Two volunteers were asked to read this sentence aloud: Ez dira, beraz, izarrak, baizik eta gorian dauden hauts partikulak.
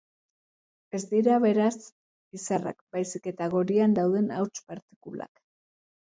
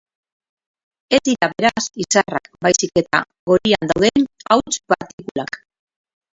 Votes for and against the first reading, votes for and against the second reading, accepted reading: 2, 0, 2, 4, first